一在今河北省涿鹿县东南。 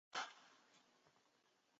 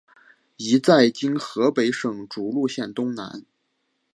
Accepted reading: second